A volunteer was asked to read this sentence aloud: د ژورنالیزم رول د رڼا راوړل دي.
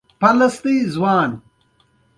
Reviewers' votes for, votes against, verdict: 1, 2, rejected